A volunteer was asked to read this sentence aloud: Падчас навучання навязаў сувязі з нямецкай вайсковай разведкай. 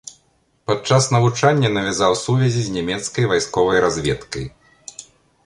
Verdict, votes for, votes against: accepted, 2, 0